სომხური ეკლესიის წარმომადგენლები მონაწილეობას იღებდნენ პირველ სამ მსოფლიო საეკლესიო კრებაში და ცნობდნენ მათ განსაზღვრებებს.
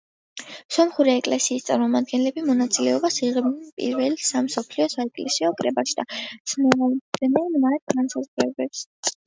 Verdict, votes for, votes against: accepted, 2, 0